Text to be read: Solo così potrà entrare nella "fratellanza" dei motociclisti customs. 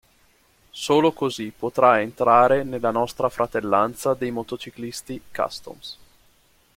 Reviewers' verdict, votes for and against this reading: rejected, 0, 2